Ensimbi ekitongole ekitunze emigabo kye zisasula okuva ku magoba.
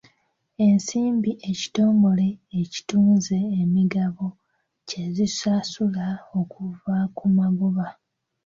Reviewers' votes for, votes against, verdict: 0, 2, rejected